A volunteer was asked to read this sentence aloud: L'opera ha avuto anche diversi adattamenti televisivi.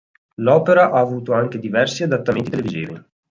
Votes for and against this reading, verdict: 1, 2, rejected